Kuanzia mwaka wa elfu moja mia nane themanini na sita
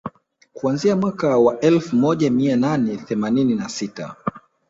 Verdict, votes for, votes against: accepted, 4, 2